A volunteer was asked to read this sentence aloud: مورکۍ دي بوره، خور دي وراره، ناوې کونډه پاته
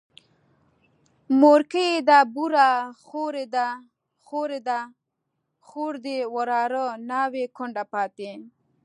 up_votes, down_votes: 1, 2